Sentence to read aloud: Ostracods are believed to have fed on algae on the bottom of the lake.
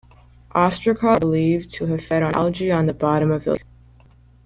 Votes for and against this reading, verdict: 1, 2, rejected